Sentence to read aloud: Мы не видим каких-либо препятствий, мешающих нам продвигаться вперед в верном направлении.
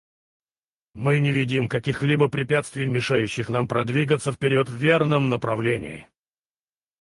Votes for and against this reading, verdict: 2, 4, rejected